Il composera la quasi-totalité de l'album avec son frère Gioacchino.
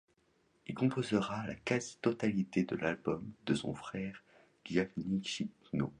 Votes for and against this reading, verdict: 2, 0, accepted